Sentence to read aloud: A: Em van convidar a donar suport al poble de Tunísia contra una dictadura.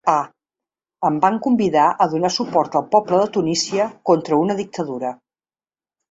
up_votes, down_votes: 2, 0